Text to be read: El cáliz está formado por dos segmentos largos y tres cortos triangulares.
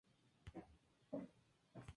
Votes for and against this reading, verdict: 0, 4, rejected